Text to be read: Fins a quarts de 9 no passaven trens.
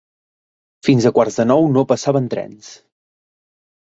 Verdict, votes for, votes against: rejected, 0, 2